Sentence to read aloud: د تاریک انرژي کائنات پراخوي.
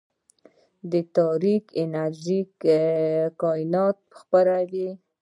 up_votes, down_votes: 2, 0